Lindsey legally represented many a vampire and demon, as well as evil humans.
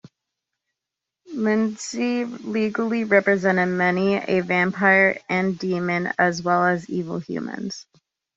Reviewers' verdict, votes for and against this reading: accepted, 2, 0